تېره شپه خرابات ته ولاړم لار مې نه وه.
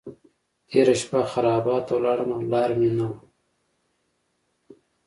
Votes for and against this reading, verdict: 2, 0, accepted